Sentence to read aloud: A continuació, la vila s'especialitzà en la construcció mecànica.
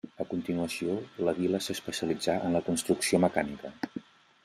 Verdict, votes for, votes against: rejected, 1, 2